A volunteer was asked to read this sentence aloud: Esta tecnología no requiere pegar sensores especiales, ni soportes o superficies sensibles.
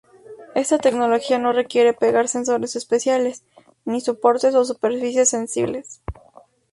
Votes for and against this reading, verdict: 0, 4, rejected